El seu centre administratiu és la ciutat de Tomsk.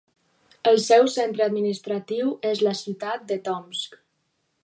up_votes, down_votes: 2, 0